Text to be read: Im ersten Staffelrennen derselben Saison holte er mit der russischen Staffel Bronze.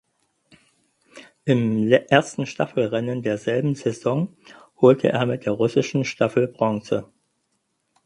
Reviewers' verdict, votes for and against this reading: rejected, 2, 4